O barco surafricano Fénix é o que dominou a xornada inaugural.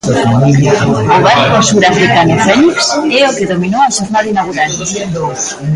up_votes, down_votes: 0, 2